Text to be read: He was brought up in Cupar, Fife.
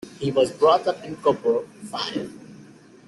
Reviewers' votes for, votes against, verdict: 2, 1, accepted